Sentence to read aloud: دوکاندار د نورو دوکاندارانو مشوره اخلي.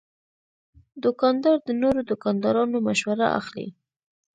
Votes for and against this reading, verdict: 2, 0, accepted